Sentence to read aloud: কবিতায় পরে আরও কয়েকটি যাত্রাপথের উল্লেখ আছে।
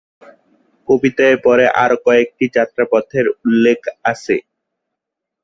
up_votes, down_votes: 0, 2